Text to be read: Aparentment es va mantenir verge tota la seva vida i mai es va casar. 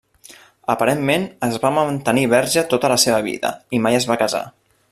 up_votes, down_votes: 0, 2